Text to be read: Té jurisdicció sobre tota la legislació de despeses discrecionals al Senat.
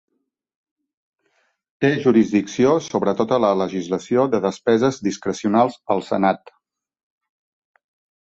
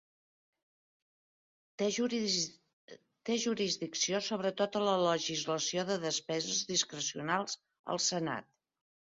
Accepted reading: first